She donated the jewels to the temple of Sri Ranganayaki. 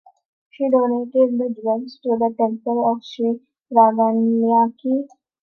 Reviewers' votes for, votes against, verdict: 1, 2, rejected